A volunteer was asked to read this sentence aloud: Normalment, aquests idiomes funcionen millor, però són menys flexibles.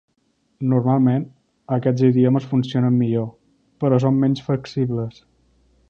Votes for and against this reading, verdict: 3, 0, accepted